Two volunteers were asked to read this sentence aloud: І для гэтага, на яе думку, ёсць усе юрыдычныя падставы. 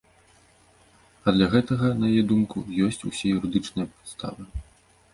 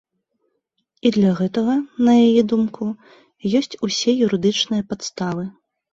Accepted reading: second